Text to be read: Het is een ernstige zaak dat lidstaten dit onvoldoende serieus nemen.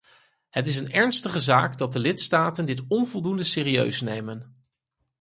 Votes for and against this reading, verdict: 2, 4, rejected